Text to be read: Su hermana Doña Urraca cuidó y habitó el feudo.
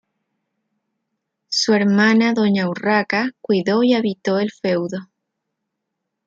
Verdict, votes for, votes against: rejected, 1, 2